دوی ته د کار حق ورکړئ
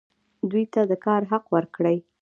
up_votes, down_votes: 1, 2